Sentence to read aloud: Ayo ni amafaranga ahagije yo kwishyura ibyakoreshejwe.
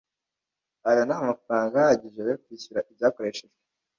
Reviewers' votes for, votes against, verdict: 1, 2, rejected